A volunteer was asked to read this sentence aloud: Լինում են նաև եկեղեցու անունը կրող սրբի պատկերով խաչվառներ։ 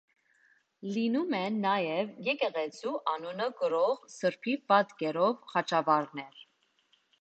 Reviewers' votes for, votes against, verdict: 3, 0, accepted